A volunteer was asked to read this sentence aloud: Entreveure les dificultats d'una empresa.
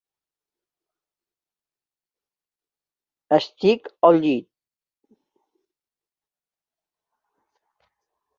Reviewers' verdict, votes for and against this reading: rejected, 0, 2